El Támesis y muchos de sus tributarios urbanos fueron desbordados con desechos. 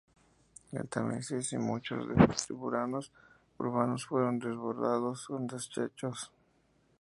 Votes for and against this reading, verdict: 2, 0, accepted